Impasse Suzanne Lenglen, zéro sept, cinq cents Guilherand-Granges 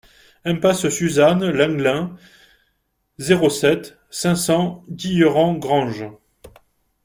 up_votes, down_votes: 0, 2